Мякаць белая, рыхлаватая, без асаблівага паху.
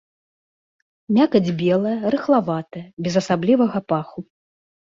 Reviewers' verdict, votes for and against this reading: accepted, 2, 0